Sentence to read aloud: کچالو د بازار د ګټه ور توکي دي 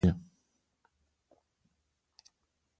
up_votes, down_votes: 0, 2